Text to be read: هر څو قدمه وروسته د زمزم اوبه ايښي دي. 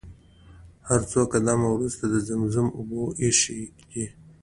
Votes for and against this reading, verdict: 2, 0, accepted